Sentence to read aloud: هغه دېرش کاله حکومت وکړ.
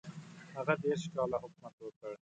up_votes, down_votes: 2, 0